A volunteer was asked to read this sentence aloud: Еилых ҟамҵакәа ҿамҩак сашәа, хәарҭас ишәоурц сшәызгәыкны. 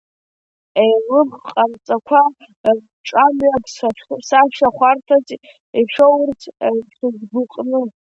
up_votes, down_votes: 0, 2